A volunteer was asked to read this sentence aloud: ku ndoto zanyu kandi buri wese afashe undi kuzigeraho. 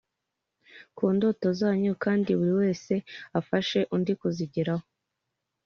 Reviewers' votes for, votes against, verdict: 3, 0, accepted